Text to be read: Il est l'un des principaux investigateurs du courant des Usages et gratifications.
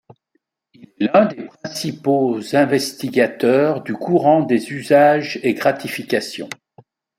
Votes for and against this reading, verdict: 2, 0, accepted